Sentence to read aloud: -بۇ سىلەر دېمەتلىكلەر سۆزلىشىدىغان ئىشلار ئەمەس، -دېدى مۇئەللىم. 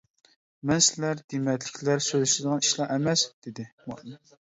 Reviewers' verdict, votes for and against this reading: rejected, 0, 2